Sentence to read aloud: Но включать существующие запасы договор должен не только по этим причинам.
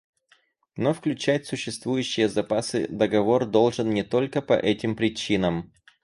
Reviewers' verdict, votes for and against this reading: accepted, 4, 0